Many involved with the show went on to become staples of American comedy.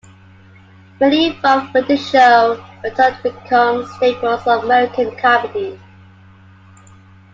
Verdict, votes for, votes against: accepted, 2, 0